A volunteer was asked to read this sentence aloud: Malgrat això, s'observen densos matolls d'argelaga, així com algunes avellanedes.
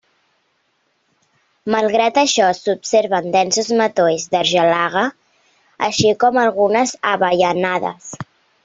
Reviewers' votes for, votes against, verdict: 0, 2, rejected